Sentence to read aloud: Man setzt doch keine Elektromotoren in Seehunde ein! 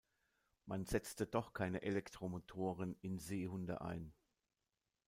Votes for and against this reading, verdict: 0, 2, rejected